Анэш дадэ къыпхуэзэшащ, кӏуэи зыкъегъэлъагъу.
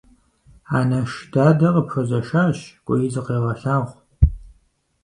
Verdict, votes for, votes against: accepted, 4, 0